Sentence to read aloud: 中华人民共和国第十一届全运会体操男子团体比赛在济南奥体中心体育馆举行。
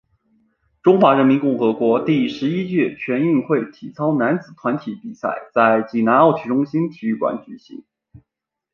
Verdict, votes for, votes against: accepted, 7, 0